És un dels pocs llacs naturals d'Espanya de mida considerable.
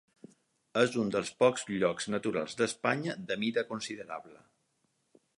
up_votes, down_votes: 2, 4